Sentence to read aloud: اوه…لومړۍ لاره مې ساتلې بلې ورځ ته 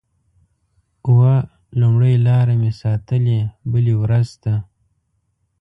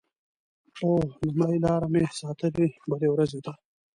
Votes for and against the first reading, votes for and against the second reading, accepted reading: 2, 0, 1, 2, first